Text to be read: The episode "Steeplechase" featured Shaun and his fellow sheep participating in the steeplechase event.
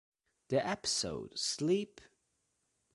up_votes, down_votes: 0, 2